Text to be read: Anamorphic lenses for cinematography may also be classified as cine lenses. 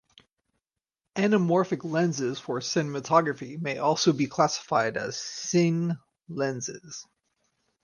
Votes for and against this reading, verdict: 4, 0, accepted